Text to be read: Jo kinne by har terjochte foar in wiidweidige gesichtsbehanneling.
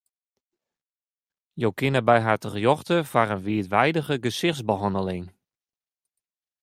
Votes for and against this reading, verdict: 1, 2, rejected